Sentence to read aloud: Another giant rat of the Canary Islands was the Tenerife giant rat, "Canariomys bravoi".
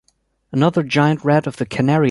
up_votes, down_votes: 1, 2